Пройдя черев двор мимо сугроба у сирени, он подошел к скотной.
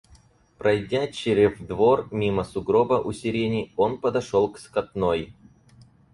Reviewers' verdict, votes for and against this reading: rejected, 2, 4